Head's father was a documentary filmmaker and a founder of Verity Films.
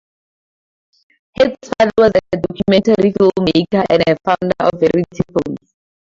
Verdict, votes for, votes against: accepted, 2, 0